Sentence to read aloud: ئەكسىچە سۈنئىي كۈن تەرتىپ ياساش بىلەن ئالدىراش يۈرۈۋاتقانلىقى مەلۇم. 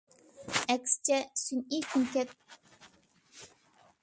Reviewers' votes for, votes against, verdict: 0, 2, rejected